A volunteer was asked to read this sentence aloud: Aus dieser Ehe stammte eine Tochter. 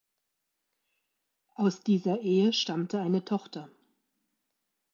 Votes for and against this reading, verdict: 2, 0, accepted